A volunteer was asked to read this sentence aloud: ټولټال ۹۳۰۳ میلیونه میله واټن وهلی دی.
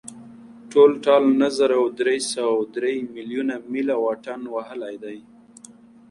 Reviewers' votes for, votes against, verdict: 0, 2, rejected